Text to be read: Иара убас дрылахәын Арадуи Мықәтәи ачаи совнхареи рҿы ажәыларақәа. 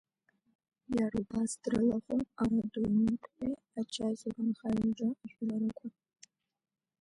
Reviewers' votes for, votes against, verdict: 0, 2, rejected